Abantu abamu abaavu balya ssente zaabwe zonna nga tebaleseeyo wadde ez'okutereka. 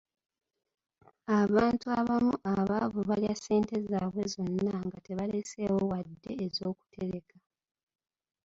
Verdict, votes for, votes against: accepted, 2, 0